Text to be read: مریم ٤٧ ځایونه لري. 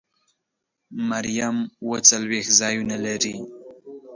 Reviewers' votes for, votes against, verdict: 0, 2, rejected